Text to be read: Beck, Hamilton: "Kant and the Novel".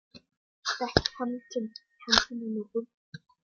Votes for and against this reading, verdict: 1, 2, rejected